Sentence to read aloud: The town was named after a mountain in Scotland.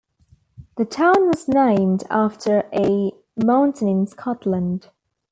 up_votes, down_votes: 2, 0